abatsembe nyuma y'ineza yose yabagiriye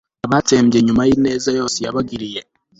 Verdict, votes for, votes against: accepted, 2, 0